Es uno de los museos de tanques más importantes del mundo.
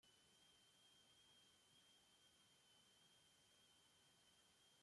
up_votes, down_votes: 0, 2